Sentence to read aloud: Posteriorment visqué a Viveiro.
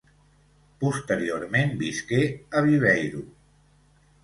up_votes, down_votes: 2, 0